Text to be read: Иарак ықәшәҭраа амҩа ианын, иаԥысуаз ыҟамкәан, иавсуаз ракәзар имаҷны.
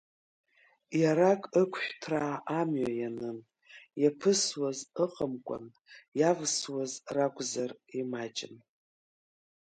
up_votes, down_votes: 0, 2